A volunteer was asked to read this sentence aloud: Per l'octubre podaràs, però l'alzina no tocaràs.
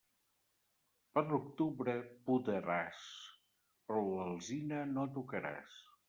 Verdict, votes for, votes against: rejected, 1, 2